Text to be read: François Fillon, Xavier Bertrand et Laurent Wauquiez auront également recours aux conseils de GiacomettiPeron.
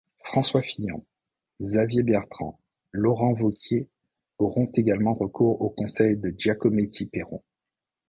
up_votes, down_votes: 1, 2